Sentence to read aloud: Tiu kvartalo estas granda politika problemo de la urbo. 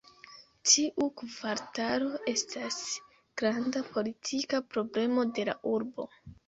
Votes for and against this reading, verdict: 0, 2, rejected